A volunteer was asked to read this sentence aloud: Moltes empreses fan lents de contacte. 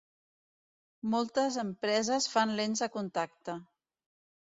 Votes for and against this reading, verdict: 2, 0, accepted